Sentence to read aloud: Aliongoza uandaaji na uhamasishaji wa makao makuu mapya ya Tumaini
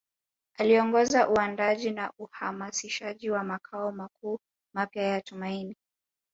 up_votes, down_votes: 2, 0